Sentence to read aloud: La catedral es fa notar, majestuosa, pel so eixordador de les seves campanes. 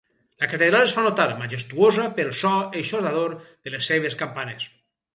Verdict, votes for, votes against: accepted, 4, 0